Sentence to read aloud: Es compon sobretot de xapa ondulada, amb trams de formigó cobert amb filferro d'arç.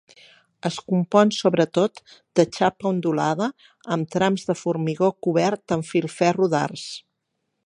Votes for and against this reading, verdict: 3, 3, rejected